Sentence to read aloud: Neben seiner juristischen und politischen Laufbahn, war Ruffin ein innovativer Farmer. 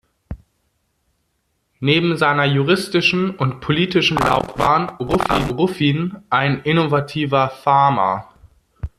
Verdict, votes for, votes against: rejected, 0, 2